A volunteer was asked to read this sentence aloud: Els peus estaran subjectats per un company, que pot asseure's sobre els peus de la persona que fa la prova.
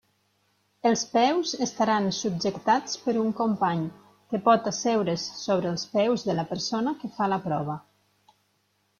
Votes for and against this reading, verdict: 3, 0, accepted